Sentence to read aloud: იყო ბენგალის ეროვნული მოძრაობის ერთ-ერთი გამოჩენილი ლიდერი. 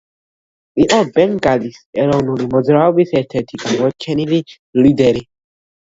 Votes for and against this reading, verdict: 1, 2, rejected